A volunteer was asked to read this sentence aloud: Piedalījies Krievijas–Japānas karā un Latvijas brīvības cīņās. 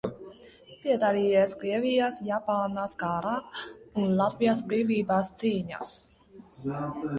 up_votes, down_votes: 0, 2